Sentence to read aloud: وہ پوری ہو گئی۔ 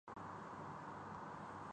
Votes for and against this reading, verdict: 2, 7, rejected